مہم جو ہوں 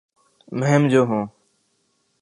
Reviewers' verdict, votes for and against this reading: accepted, 6, 1